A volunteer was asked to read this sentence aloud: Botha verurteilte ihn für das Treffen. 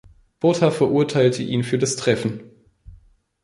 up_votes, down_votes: 2, 0